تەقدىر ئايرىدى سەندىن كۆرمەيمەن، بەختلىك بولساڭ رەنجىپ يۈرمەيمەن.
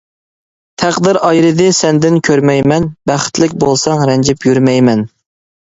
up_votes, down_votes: 1, 2